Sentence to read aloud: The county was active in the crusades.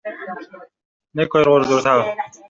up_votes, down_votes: 0, 2